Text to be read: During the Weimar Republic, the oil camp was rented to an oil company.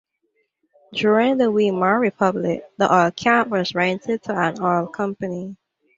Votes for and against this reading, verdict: 1, 2, rejected